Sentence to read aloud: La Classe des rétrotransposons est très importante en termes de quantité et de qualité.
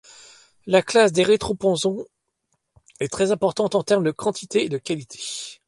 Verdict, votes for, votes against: rejected, 1, 2